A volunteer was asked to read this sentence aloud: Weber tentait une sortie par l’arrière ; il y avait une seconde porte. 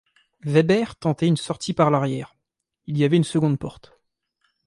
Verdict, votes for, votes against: accepted, 2, 0